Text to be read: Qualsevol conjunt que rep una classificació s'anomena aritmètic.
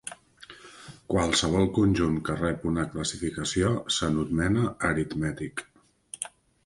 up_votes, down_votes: 1, 2